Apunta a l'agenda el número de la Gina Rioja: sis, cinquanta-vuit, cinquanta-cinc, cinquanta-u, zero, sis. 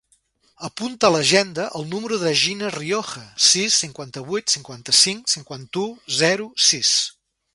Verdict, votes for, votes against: rejected, 0, 2